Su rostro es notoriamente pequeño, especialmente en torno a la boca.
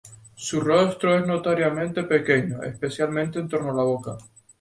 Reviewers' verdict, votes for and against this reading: accepted, 2, 0